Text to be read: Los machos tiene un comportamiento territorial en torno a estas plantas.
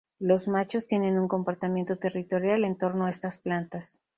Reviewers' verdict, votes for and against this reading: accepted, 2, 0